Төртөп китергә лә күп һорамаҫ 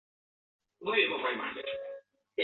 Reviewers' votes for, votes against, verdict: 0, 2, rejected